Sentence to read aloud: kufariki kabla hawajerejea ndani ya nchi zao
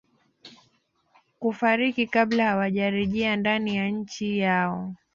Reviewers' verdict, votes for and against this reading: rejected, 0, 2